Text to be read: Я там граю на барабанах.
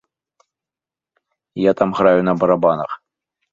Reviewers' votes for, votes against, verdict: 2, 0, accepted